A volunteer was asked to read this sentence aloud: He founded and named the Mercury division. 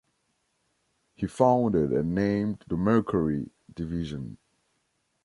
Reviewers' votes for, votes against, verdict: 3, 0, accepted